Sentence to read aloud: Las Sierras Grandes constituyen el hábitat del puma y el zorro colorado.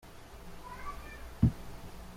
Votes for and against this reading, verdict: 0, 2, rejected